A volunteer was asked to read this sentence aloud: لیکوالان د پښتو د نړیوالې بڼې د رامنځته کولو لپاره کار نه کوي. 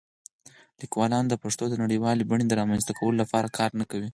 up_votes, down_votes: 2, 4